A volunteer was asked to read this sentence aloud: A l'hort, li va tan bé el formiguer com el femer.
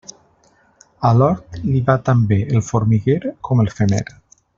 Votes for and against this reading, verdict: 1, 2, rejected